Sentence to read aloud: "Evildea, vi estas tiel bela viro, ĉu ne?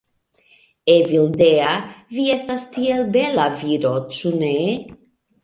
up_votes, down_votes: 2, 0